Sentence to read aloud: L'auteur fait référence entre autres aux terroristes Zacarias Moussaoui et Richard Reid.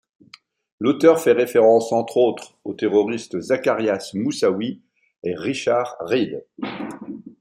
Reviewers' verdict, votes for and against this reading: rejected, 1, 2